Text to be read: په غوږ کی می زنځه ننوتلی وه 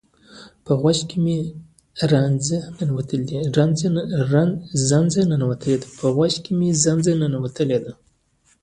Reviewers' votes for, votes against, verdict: 0, 2, rejected